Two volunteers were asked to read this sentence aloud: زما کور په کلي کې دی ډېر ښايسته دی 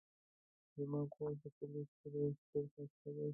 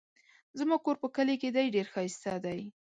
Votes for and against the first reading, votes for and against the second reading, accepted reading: 0, 2, 2, 0, second